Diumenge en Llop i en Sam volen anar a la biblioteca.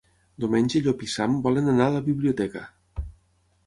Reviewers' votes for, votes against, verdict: 0, 6, rejected